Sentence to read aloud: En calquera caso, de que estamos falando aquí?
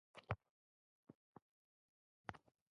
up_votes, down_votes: 0, 2